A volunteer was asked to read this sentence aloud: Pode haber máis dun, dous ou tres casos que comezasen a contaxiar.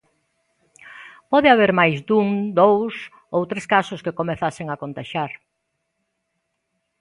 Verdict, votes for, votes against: accepted, 2, 0